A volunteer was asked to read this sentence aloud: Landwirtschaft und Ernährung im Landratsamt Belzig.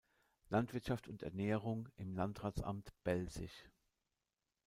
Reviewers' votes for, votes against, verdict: 2, 0, accepted